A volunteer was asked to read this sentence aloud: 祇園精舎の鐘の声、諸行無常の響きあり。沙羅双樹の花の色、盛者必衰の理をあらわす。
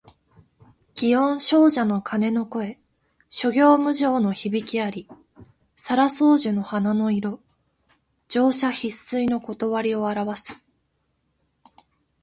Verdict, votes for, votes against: accepted, 2, 0